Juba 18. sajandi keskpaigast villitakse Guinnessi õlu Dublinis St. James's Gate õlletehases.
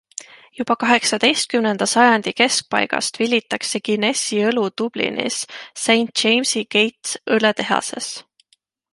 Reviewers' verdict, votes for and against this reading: rejected, 0, 2